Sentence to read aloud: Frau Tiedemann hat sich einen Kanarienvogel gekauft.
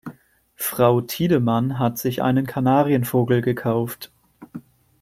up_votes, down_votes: 2, 0